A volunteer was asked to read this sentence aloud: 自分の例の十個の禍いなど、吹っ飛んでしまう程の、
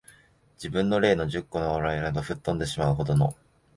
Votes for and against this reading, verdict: 1, 2, rejected